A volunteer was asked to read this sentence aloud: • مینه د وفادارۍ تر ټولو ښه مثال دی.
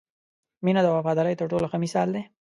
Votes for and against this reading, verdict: 2, 0, accepted